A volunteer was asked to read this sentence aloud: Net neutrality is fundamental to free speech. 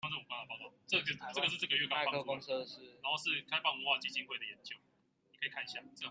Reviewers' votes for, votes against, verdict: 0, 4, rejected